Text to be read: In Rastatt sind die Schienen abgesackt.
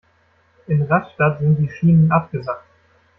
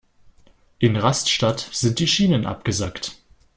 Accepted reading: first